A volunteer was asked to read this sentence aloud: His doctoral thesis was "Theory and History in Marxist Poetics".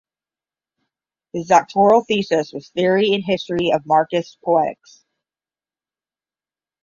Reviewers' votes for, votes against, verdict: 5, 10, rejected